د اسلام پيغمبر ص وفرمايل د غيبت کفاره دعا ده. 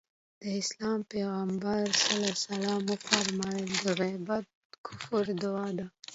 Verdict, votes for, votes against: accepted, 2, 1